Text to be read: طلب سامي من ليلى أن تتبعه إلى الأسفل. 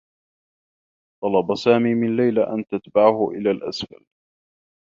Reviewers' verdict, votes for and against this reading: rejected, 1, 2